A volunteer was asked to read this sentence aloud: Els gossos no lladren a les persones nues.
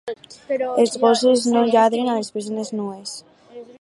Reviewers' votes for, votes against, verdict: 2, 2, rejected